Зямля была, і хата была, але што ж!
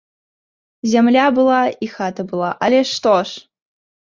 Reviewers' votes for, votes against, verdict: 2, 0, accepted